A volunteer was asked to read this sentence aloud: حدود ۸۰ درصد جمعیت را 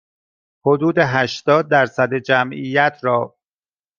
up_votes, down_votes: 0, 2